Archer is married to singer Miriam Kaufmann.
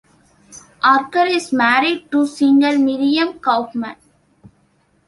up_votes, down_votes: 1, 2